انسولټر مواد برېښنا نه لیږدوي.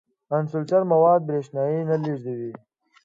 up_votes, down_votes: 2, 0